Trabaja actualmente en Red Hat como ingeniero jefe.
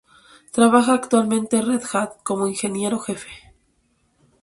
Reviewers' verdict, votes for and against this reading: rejected, 0, 2